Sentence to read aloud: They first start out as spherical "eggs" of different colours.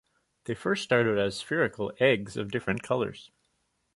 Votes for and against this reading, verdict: 1, 2, rejected